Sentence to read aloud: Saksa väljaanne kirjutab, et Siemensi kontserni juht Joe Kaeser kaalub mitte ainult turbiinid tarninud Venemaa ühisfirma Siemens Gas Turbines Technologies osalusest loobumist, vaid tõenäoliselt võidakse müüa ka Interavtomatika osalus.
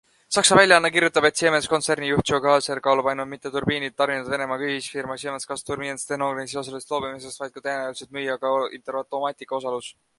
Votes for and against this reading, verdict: 1, 2, rejected